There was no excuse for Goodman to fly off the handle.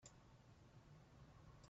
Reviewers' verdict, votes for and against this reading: rejected, 0, 3